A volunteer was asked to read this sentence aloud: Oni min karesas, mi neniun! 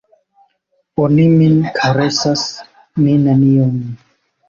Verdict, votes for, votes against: rejected, 0, 2